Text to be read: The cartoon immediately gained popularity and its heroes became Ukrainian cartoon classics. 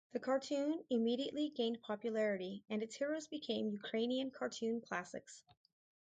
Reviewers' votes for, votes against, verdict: 2, 2, rejected